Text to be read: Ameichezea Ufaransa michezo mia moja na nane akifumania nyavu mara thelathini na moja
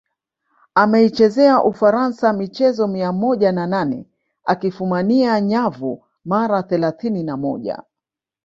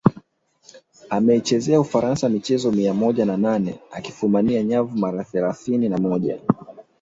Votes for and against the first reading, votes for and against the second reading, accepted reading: 1, 2, 2, 0, second